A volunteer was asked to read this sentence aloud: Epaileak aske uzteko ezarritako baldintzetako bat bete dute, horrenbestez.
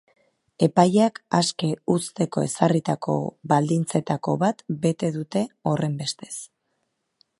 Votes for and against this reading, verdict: 4, 0, accepted